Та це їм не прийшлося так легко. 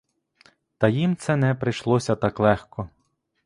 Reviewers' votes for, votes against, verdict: 1, 2, rejected